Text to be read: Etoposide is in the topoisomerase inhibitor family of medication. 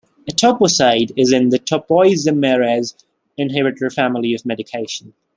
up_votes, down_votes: 1, 2